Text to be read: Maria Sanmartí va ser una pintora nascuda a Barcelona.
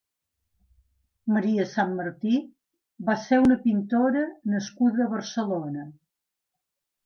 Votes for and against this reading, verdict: 2, 0, accepted